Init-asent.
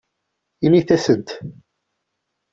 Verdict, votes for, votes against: accepted, 2, 0